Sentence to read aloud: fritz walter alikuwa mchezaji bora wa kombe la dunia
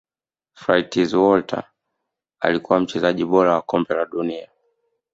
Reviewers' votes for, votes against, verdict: 0, 2, rejected